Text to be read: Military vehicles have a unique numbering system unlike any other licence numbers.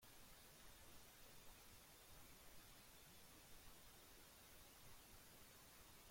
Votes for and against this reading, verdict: 0, 2, rejected